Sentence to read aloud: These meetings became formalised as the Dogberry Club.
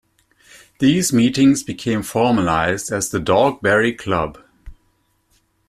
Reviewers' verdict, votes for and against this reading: accepted, 2, 0